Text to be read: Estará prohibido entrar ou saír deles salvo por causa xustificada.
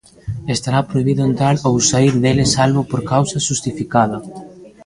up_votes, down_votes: 1, 2